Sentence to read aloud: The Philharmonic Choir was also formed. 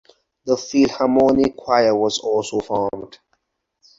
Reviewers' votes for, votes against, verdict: 2, 0, accepted